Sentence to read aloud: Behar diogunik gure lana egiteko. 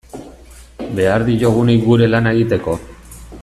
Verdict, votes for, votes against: rejected, 1, 2